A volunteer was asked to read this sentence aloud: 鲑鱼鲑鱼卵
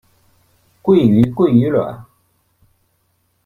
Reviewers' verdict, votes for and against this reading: rejected, 0, 2